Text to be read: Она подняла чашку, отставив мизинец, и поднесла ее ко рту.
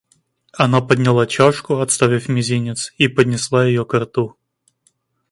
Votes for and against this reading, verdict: 1, 2, rejected